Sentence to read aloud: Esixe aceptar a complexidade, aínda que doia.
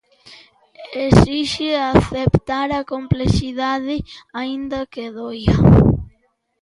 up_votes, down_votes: 0, 2